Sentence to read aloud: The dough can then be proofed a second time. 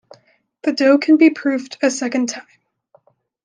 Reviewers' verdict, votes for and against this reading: rejected, 1, 2